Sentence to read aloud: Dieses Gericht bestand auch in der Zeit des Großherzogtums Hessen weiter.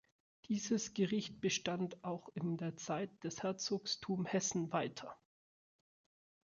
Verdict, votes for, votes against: rejected, 0, 2